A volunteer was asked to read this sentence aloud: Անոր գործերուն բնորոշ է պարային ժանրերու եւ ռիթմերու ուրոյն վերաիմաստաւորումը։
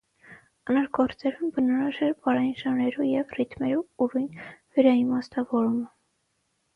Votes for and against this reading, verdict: 6, 3, accepted